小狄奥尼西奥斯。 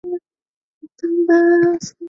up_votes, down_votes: 0, 3